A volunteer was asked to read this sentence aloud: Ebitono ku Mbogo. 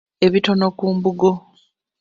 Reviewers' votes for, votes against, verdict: 1, 2, rejected